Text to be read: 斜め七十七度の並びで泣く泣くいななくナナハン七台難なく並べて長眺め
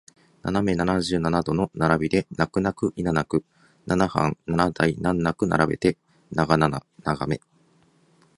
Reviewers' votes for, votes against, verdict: 2, 0, accepted